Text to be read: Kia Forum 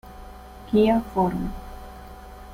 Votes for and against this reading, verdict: 0, 2, rejected